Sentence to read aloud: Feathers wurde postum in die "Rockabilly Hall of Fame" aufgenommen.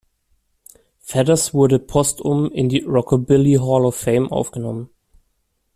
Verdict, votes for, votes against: accepted, 2, 0